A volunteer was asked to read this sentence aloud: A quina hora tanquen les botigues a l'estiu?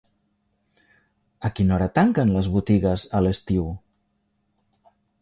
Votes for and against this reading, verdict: 3, 0, accepted